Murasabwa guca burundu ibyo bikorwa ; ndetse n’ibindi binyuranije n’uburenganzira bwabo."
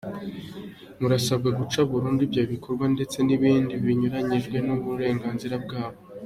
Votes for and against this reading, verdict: 2, 1, accepted